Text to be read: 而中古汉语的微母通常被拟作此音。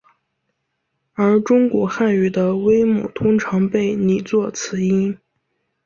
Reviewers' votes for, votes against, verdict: 2, 0, accepted